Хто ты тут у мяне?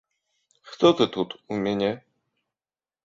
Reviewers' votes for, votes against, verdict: 2, 0, accepted